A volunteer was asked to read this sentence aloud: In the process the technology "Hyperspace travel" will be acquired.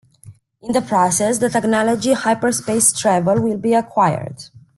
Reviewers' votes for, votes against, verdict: 2, 0, accepted